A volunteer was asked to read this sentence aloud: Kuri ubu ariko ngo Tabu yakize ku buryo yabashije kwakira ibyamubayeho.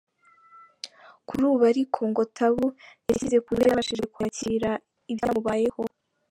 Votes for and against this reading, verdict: 0, 3, rejected